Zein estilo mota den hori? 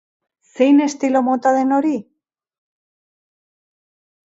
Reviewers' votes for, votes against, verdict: 3, 0, accepted